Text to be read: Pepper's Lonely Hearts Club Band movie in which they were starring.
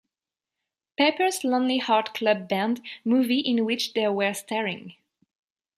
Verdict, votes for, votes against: rejected, 0, 2